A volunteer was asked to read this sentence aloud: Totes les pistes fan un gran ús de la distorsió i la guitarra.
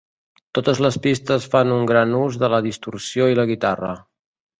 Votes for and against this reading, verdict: 2, 0, accepted